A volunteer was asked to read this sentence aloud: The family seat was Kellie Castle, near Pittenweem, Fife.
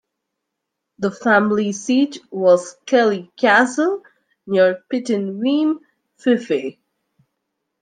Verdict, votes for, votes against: rejected, 0, 2